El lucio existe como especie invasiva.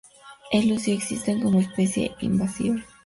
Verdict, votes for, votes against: accepted, 4, 0